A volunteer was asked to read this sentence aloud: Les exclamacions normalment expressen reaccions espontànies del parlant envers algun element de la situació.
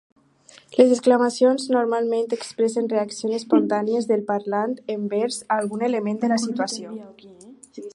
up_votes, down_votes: 0, 2